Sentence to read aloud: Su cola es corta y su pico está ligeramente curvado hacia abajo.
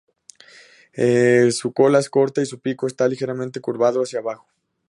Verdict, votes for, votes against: rejected, 0, 2